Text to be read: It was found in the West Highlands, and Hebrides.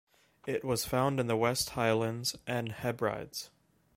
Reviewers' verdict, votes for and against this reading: rejected, 1, 2